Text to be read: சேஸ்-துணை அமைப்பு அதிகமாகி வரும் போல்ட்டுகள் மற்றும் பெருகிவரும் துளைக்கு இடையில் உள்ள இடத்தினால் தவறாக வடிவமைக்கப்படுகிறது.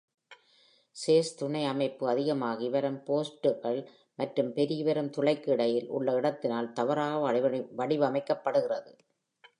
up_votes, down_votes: 2, 0